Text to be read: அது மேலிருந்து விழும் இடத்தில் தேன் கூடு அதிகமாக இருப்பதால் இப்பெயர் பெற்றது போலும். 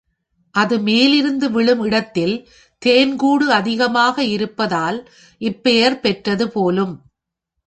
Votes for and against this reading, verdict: 2, 0, accepted